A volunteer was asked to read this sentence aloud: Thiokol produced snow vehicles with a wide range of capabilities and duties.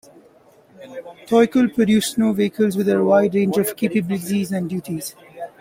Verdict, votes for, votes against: accepted, 2, 0